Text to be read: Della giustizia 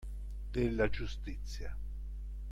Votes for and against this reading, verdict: 2, 0, accepted